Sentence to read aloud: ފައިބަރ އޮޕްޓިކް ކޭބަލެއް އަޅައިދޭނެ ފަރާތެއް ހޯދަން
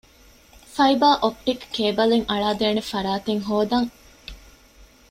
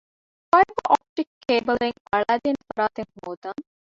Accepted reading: first